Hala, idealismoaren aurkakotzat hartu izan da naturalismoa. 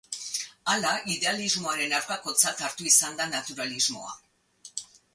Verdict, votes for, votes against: accepted, 4, 0